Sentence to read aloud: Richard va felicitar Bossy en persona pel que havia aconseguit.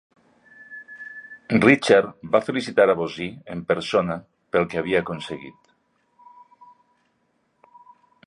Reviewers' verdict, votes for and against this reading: accepted, 2, 0